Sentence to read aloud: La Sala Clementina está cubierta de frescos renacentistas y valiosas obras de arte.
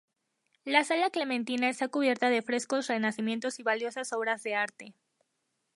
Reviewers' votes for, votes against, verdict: 0, 2, rejected